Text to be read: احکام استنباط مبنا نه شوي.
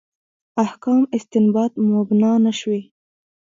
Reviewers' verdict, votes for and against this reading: accepted, 2, 1